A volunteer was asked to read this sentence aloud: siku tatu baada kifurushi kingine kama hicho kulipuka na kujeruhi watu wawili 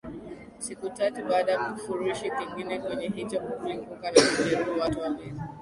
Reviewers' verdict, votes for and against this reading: rejected, 0, 2